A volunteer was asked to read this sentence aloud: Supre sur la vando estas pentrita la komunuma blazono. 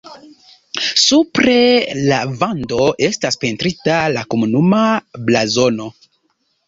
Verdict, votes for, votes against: rejected, 1, 2